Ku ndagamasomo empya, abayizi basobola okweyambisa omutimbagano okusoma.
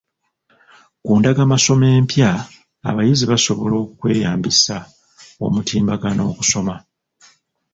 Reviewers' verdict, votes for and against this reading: rejected, 0, 2